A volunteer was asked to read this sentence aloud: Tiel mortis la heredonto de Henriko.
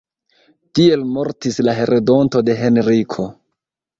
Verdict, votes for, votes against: rejected, 1, 2